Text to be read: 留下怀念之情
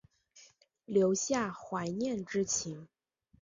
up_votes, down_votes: 2, 0